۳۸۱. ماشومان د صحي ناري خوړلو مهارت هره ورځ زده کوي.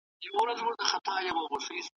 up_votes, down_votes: 0, 2